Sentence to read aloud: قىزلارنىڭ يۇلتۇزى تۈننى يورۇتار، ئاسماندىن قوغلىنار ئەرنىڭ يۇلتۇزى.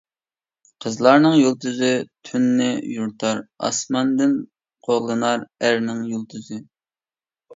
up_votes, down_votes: 2, 0